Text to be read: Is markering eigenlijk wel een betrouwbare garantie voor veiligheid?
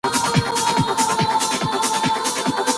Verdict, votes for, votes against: rejected, 0, 2